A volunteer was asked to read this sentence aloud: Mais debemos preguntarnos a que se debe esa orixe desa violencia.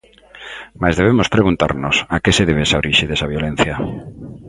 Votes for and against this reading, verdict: 2, 0, accepted